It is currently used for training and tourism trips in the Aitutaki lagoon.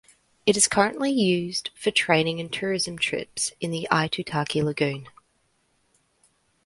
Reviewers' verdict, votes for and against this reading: accepted, 2, 0